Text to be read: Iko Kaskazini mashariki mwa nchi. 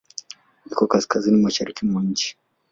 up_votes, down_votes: 2, 0